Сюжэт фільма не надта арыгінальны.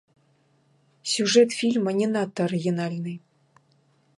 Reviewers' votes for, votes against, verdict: 1, 2, rejected